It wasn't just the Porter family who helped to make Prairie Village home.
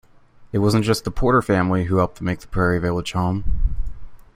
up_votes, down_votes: 1, 2